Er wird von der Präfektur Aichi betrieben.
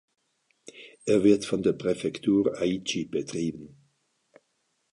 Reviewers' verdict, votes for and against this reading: accepted, 2, 0